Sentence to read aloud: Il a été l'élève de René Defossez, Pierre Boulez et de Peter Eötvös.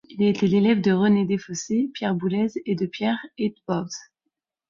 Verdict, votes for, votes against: rejected, 0, 2